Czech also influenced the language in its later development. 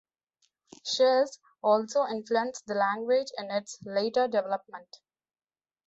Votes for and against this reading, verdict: 2, 0, accepted